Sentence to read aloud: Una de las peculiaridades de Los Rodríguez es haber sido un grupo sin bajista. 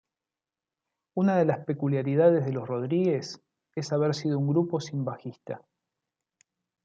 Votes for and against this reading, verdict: 0, 2, rejected